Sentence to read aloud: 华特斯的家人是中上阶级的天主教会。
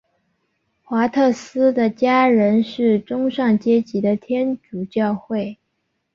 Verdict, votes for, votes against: accepted, 2, 0